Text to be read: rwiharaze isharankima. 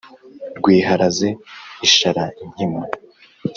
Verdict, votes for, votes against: accepted, 5, 0